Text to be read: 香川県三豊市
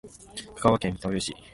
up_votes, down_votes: 0, 2